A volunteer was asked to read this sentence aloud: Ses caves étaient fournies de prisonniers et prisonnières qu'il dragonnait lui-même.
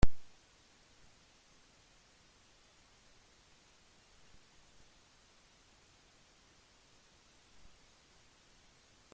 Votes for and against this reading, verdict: 0, 2, rejected